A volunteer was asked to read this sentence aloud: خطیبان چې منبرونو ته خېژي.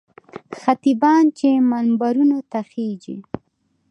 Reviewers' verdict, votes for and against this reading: rejected, 1, 2